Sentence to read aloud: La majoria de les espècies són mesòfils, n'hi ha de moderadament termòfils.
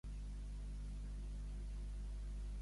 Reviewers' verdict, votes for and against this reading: rejected, 1, 2